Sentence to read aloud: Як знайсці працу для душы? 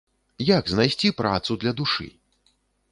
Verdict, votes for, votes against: accepted, 3, 0